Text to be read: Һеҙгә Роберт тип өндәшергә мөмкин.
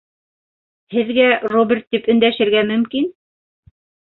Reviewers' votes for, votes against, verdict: 3, 0, accepted